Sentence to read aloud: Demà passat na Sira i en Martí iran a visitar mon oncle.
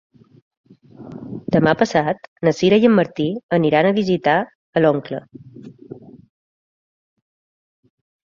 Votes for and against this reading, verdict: 0, 3, rejected